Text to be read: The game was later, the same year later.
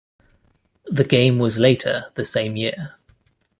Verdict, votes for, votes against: rejected, 1, 2